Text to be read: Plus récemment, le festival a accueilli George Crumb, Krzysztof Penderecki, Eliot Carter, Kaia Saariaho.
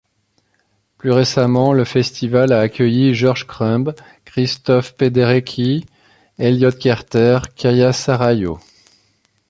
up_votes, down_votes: 1, 2